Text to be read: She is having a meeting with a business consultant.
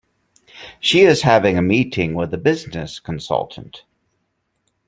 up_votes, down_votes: 2, 0